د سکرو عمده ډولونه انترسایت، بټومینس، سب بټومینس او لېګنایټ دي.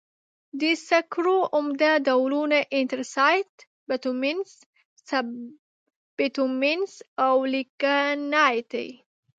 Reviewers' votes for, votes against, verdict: 0, 2, rejected